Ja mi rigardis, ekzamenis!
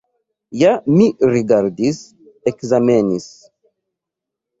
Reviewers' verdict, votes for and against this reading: accepted, 2, 0